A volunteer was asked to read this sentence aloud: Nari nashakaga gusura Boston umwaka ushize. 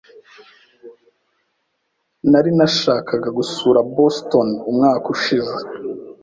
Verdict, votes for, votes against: accepted, 2, 0